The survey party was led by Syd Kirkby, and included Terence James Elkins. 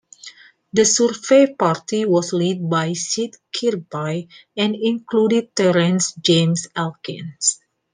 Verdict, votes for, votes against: accepted, 2, 1